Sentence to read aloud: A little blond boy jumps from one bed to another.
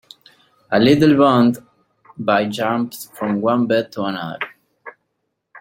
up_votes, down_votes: 2, 3